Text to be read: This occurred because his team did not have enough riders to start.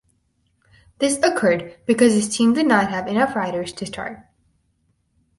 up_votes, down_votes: 2, 2